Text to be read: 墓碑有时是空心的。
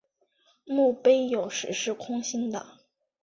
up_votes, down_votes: 2, 0